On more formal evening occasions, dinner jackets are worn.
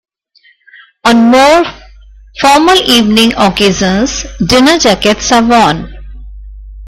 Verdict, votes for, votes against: rejected, 0, 2